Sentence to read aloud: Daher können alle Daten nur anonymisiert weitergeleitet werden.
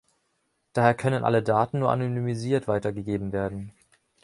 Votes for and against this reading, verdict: 1, 2, rejected